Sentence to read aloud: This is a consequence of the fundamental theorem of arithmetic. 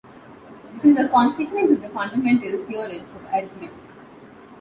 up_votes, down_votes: 2, 0